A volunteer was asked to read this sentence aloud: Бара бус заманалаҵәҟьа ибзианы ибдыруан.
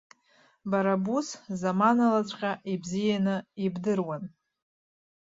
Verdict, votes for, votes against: accepted, 2, 0